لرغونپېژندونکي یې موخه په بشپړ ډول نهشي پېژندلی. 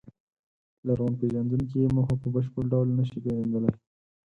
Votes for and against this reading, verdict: 10, 0, accepted